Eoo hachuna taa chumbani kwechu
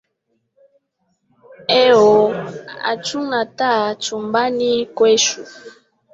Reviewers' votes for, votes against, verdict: 1, 2, rejected